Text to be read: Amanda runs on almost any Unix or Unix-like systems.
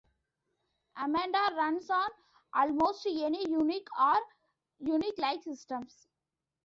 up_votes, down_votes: 1, 2